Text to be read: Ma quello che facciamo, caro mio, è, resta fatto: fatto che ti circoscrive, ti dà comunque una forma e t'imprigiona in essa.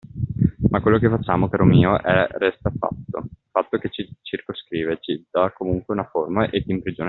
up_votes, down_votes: 0, 2